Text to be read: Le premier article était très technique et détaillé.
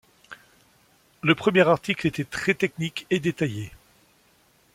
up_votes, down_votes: 2, 0